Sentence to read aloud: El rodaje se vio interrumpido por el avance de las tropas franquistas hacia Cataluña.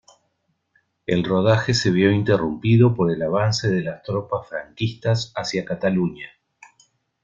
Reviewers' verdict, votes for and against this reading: accepted, 2, 0